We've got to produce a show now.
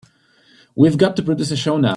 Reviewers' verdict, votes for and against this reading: rejected, 0, 2